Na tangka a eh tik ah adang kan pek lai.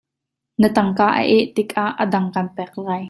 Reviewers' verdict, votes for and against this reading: accepted, 2, 0